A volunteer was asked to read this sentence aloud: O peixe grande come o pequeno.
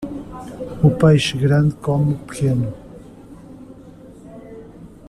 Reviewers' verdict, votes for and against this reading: rejected, 0, 2